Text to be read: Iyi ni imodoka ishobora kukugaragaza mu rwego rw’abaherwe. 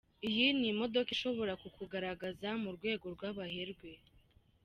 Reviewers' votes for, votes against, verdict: 2, 0, accepted